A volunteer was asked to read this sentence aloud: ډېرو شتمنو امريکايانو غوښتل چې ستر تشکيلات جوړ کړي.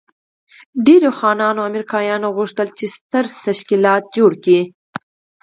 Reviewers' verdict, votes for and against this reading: rejected, 2, 4